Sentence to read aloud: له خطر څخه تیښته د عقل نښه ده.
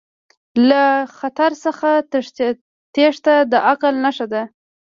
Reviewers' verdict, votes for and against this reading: rejected, 0, 2